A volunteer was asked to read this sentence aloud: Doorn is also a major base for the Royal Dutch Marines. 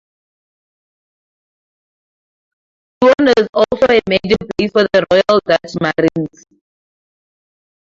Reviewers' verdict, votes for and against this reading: rejected, 0, 2